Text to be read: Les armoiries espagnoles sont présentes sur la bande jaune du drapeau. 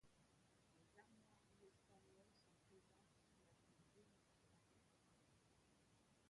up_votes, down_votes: 0, 2